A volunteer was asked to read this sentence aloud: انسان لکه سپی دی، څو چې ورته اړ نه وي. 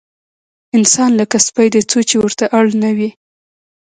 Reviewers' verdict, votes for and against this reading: accepted, 2, 1